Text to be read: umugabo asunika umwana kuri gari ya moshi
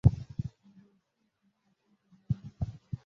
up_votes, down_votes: 0, 2